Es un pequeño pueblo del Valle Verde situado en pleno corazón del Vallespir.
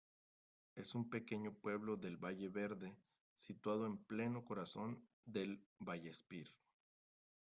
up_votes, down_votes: 2, 1